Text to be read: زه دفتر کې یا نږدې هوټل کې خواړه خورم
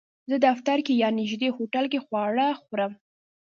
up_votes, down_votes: 1, 2